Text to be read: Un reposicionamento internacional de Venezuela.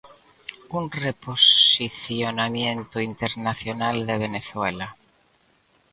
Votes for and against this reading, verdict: 0, 2, rejected